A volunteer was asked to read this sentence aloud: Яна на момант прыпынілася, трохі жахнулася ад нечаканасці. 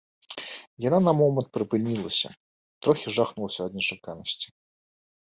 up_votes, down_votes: 2, 0